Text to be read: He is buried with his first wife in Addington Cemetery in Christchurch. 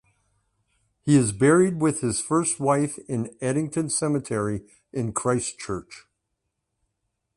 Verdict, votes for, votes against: accepted, 2, 0